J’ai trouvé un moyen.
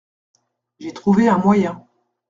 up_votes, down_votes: 2, 0